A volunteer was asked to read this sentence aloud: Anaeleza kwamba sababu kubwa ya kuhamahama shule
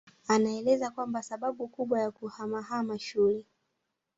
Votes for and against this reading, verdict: 1, 2, rejected